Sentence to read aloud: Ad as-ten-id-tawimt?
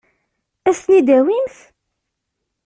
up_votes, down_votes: 2, 1